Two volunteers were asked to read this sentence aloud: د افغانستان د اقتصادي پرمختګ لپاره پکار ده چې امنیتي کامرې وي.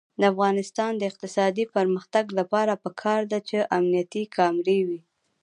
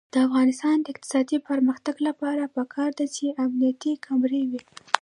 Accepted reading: second